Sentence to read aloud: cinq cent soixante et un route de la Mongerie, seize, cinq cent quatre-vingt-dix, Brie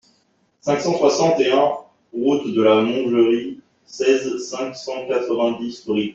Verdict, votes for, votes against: accepted, 2, 0